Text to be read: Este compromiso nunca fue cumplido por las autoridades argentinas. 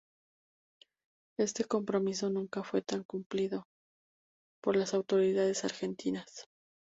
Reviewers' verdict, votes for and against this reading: rejected, 0, 2